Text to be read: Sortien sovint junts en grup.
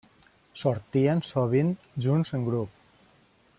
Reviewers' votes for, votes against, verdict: 3, 0, accepted